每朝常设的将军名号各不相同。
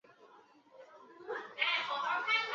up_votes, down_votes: 0, 4